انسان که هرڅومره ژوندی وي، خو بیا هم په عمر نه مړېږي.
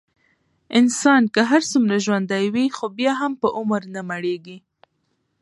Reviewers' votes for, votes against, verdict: 2, 0, accepted